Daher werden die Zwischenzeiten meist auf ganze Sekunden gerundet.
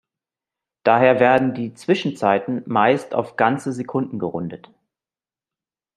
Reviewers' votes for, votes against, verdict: 2, 0, accepted